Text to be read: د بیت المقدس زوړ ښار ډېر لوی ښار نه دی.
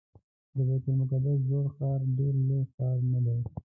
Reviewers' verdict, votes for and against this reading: rejected, 0, 2